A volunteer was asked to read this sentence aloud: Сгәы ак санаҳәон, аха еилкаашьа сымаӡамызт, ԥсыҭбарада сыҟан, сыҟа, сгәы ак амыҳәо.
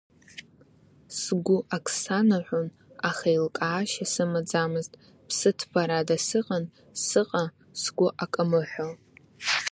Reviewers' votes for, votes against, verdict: 0, 2, rejected